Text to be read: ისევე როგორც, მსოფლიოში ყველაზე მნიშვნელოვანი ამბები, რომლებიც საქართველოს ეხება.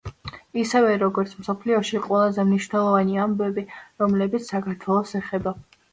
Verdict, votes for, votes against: accepted, 2, 0